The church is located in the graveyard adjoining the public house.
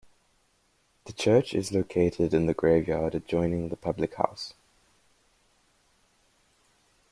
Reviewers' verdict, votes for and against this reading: accepted, 2, 0